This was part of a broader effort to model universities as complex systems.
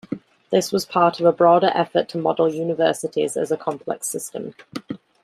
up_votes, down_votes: 0, 2